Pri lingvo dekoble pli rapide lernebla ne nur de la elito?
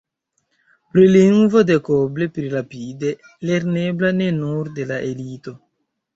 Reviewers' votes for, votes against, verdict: 1, 2, rejected